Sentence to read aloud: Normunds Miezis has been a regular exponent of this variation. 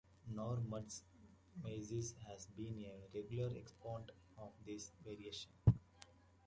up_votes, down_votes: 0, 2